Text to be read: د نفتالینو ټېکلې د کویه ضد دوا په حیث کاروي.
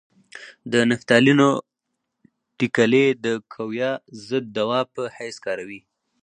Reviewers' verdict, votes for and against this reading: rejected, 2, 2